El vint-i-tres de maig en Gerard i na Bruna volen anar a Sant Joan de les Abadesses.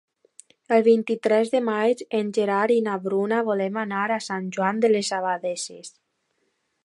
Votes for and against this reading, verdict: 2, 1, accepted